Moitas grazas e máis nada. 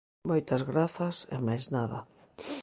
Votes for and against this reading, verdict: 2, 0, accepted